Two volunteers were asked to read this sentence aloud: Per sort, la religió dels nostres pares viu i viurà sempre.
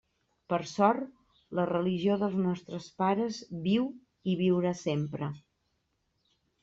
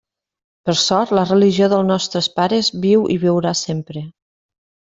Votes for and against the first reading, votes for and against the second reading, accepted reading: 3, 0, 0, 2, first